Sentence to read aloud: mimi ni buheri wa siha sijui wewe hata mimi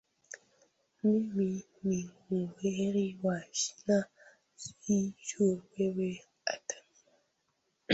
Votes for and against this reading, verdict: 0, 2, rejected